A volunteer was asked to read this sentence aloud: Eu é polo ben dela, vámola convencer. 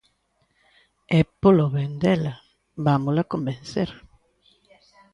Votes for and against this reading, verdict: 1, 2, rejected